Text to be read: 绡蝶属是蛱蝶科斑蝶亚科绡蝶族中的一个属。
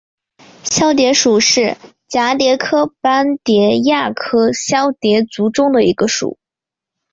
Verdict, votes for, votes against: accepted, 2, 1